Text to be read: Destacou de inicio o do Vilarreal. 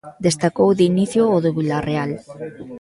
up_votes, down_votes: 1, 2